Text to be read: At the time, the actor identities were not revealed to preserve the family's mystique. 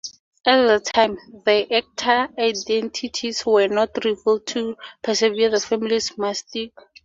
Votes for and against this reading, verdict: 0, 2, rejected